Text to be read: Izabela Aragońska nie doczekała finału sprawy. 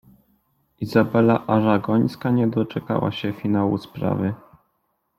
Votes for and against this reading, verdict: 0, 2, rejected